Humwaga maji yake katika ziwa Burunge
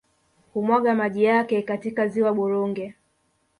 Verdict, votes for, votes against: rejected, 0, 2